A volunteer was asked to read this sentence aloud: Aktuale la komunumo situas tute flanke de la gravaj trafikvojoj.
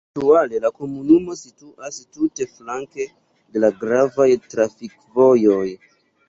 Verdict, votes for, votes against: rejected, 0, 2